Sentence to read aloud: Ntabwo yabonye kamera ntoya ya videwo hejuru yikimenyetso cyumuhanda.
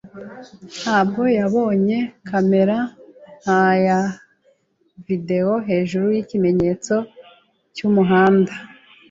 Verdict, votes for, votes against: rejected, 0, 2